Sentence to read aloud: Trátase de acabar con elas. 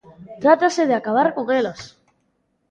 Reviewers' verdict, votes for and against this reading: accepted, 2, 0